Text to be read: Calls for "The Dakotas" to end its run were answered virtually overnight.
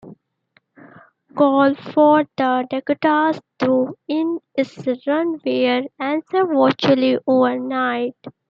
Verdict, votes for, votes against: rejected, 1, 2